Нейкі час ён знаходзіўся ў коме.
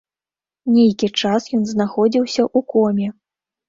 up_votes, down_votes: 1, 2